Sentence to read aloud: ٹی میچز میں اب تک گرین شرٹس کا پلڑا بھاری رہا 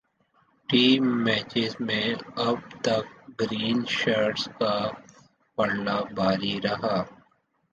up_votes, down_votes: 2, 0